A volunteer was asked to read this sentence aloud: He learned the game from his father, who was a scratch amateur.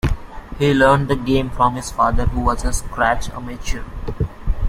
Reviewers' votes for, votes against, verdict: 2, 0, accepted